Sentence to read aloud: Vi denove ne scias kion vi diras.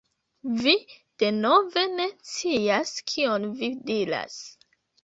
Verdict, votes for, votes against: rejected, 0, 2